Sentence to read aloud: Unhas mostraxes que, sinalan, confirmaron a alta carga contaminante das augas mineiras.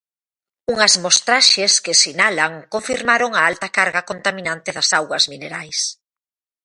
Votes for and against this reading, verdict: 0, 2, rejected